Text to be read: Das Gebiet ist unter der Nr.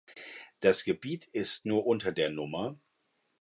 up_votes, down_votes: 1, 2